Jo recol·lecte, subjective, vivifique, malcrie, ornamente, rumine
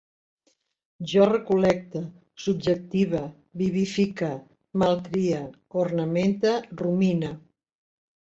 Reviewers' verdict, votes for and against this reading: accepted, 3, 0